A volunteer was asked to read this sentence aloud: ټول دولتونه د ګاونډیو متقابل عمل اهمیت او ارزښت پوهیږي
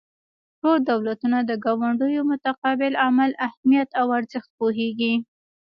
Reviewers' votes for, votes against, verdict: 2, 0, accepted